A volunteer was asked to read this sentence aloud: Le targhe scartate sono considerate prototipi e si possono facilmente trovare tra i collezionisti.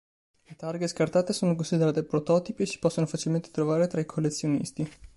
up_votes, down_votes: 1, 2